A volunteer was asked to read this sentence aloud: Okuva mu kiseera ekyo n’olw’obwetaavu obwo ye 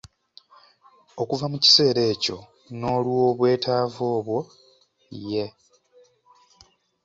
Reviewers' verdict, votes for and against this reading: rejected, 1, 2